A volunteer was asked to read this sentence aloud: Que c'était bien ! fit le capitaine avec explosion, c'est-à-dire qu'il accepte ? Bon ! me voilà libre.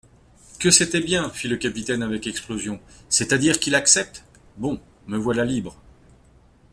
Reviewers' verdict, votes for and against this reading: accepted, 2, 0